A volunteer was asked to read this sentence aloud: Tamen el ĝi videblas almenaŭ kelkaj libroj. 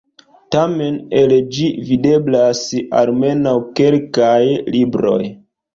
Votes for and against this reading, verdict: 3, 0, accepted